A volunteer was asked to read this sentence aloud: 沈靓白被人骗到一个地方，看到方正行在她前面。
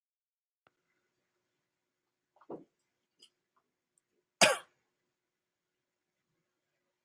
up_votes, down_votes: 0, 2